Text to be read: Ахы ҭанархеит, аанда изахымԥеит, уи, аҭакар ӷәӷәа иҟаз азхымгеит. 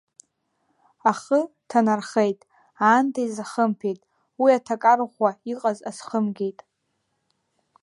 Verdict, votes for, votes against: accepted, 2, 0